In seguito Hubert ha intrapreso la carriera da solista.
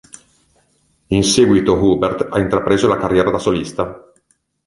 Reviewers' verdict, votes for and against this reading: accepted, 3, 1